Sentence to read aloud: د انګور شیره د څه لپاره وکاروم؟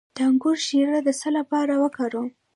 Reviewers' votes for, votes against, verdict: 0, 2, rejected